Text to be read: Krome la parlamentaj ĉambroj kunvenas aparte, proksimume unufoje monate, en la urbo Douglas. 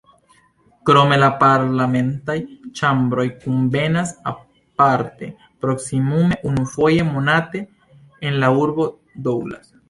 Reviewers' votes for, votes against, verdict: 2, 0, accepted